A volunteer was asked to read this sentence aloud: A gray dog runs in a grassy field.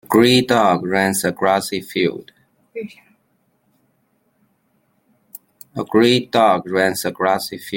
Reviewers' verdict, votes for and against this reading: rejected, 0, 2